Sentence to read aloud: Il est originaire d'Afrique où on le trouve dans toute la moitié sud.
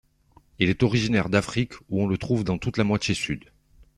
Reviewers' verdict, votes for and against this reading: accepted, 3, 0